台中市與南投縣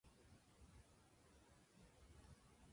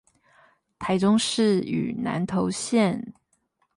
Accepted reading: second